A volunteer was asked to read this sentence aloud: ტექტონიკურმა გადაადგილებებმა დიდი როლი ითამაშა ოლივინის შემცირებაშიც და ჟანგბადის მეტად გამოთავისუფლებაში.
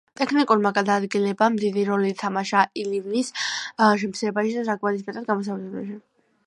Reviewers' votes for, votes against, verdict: 2, 0, accepted